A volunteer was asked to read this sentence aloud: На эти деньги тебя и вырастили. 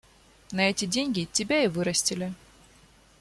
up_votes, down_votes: 2, 0